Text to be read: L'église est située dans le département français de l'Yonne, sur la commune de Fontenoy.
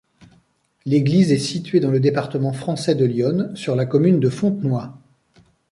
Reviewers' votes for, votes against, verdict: 2, 0, accepted